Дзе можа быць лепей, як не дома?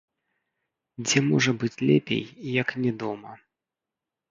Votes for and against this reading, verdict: 1, 2, rejected